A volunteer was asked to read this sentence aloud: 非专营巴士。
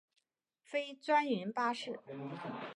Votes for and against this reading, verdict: 2, 0, accepted